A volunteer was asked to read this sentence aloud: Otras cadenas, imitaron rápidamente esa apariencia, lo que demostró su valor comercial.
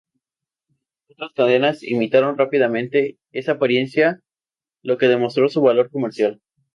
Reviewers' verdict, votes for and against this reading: rejected, 0, 2